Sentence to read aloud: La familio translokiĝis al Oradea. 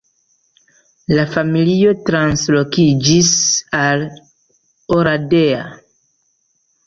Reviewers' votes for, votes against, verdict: 2, 0, accepted